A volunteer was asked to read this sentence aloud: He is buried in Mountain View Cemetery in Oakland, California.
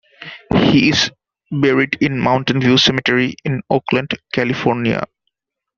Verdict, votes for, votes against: accepted, 2, 0